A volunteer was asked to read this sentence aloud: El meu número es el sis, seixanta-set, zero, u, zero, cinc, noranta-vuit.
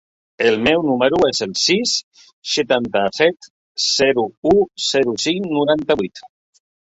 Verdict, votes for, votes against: rejected, 0, 2